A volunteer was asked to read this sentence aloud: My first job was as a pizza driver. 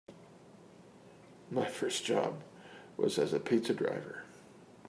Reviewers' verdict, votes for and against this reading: accepted, 3, 0